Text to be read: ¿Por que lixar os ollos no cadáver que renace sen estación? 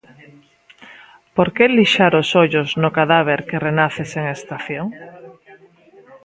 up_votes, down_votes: 0, 2